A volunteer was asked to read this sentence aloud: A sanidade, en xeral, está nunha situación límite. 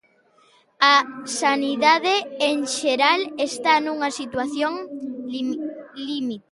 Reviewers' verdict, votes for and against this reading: rejected, 0, 2